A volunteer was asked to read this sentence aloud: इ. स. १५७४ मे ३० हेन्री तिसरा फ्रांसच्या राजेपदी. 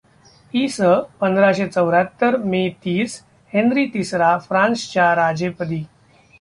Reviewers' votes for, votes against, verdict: 0, 2, rejected